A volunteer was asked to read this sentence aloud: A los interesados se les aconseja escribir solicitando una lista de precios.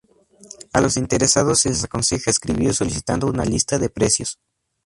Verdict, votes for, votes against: accepted, 4, 0